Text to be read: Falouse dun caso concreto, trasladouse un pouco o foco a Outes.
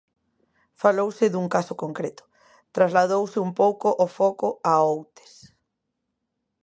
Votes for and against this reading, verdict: 2, 0, accepted